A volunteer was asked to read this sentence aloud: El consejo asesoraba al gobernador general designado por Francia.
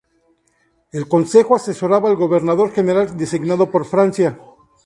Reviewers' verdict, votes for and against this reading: accepted, 4, 0